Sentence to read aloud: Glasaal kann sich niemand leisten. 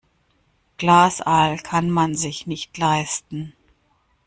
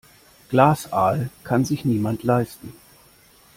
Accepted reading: second